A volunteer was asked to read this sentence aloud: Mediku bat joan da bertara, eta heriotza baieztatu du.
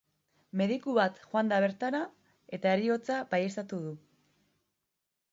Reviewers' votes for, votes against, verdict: 2, 0, accepted